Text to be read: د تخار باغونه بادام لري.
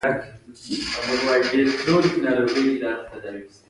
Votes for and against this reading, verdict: 1, 2, rejected